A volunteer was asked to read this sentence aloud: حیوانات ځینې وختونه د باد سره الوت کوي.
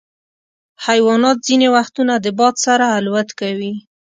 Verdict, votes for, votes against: accepted, 2, 0